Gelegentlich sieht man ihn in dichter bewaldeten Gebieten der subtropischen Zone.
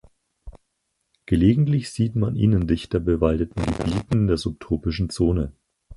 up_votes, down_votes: 4, 2